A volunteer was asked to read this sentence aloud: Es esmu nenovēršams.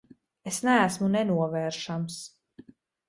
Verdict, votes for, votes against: rejected, 1, 4